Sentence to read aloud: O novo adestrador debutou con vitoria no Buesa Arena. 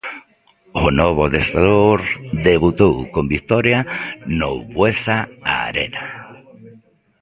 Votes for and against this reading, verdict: 0, 2, rejected